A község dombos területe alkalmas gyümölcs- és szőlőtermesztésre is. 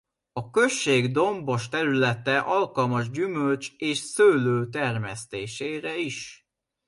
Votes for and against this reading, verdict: 0, 2, rejected